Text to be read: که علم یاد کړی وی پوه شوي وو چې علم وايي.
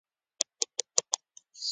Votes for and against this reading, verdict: 0, 2, rejected